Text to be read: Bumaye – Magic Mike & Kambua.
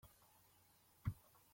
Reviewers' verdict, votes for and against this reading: rejected, 0, 3